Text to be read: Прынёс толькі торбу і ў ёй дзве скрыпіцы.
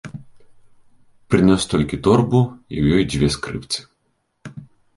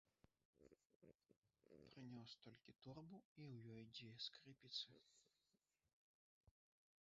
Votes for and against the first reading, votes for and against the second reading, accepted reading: 2, 0, 0, 2, first